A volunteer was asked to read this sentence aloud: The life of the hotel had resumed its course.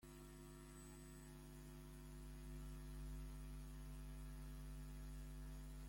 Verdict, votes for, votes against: rejected, 0, 2